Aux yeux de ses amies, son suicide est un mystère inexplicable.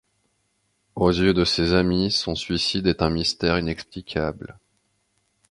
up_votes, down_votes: 2, 0